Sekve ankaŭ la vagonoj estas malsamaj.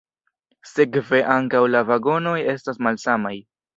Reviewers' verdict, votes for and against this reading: rejected, 1, 2